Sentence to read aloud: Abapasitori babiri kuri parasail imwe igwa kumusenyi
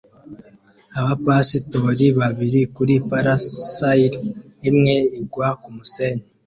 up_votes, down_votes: 2, 0